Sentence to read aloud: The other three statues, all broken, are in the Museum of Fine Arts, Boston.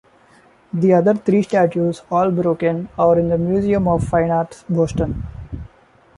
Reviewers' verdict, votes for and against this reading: accepted, 2, 0